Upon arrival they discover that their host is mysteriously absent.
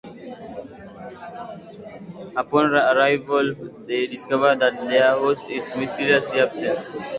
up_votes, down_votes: 2, 0